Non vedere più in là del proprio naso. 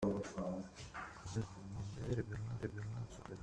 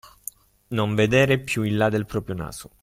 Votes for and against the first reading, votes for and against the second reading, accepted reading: 0, 2, 2, 0, second